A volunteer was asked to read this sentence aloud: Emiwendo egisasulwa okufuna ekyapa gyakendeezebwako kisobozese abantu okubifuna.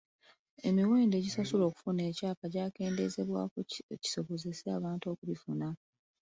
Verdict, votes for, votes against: accepted, 3, 1